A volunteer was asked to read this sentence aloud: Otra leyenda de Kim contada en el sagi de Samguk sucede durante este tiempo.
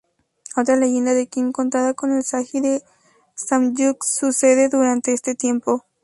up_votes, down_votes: 2, 0